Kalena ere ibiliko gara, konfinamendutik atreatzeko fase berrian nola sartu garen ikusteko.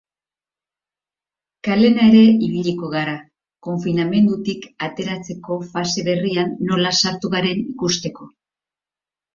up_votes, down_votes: 3, 0